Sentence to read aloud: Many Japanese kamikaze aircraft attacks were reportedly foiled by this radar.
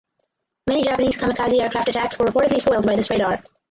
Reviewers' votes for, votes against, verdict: 0, 2, rejected